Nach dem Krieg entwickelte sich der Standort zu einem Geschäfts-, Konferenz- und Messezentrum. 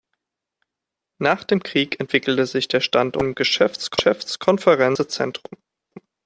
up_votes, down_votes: 0, 2